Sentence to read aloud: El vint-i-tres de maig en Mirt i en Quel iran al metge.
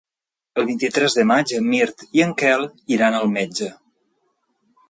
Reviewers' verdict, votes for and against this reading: accepted, 3, 0